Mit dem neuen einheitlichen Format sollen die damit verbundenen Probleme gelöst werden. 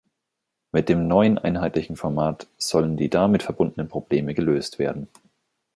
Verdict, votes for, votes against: accepted, 2, 0